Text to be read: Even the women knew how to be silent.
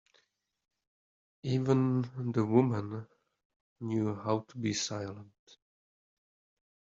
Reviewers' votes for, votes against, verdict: 0, 2, rejected